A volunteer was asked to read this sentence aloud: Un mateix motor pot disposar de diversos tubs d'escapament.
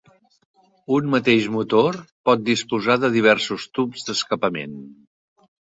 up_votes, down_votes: 3, 0